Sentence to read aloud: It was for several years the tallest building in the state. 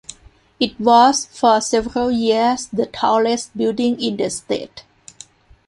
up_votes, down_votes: 1, 2